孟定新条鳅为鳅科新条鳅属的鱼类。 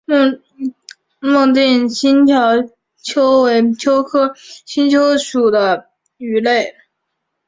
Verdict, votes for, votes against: accepted, 3, 2